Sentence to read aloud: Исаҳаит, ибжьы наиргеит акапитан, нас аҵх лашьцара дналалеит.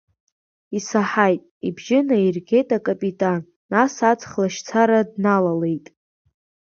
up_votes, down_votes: 5, 0